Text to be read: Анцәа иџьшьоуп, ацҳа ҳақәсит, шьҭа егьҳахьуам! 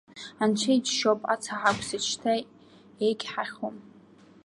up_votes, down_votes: 1, 2